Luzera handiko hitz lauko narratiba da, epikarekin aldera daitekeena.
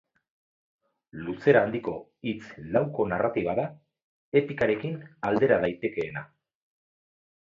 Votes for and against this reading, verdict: 4, 2, accepted